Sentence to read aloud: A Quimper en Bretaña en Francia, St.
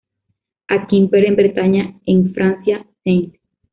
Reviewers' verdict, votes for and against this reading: rejected, 0, 2